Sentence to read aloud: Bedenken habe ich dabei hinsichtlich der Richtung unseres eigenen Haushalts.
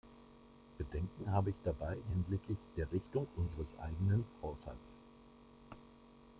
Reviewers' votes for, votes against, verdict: 2, 0, accepted